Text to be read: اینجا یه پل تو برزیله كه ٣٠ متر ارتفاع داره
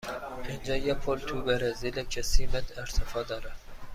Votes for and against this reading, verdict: 0, 2, rejected